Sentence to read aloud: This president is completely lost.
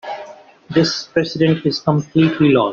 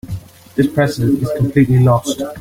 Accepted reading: second